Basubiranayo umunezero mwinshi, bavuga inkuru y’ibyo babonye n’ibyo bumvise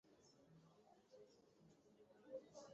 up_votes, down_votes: 1, 2